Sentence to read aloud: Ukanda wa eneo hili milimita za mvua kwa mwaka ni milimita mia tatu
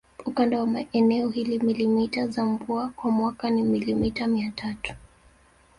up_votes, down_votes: 0, 2